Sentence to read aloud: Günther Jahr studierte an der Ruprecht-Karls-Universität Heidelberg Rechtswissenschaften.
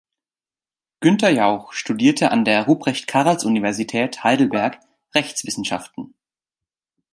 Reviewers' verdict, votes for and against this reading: rejected, 0, 2